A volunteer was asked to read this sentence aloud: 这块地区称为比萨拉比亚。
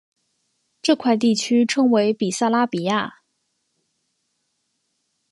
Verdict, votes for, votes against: accepted, 4, 0